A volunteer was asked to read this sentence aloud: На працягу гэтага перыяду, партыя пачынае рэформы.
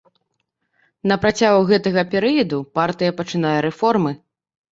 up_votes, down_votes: 0, 2